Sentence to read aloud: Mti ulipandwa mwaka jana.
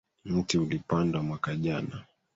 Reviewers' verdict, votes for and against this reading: rejected, 1, 2